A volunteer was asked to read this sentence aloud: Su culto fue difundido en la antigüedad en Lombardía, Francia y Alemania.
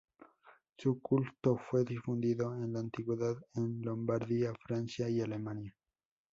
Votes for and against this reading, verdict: 2, 0, accepted